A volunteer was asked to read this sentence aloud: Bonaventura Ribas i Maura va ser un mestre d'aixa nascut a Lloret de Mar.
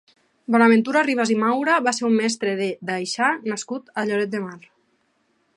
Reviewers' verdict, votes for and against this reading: rejected, 0, 2